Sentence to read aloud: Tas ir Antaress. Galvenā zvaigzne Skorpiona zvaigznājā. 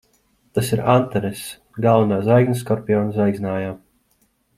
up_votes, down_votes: 2, 0